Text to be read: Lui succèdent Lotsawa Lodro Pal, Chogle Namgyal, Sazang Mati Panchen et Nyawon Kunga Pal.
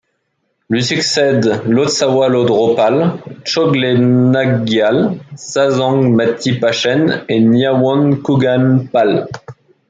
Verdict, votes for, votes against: rejected, 1, 2